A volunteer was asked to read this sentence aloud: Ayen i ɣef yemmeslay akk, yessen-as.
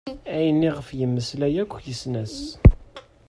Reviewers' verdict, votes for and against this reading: accepted, 2, 0